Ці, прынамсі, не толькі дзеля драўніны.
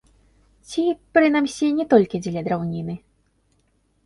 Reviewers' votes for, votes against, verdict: 0, 2, rejected